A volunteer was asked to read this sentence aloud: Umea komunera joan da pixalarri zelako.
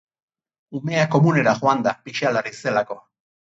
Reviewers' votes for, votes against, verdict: 8, 0, accepted